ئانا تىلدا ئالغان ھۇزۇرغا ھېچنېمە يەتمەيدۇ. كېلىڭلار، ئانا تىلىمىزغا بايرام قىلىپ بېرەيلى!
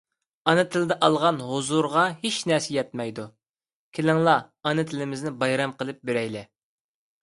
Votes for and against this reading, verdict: 1, 2, rejected